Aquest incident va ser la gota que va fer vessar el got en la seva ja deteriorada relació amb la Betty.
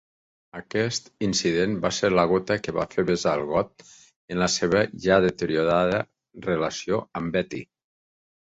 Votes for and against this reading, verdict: 1, 2, rejected